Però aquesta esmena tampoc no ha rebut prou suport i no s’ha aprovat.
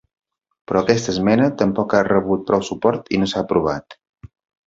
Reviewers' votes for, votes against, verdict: 0, 2, rejected